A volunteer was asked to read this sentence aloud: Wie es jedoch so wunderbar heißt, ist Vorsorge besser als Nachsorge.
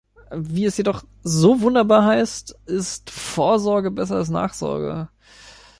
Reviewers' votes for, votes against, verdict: 2, 0, accepted